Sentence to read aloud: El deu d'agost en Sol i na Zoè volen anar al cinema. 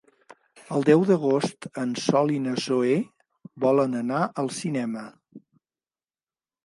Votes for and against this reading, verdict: 3, 0, accepted